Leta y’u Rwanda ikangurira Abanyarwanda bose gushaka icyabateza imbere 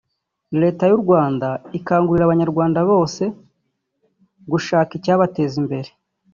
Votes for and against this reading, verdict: 2, 0, accepted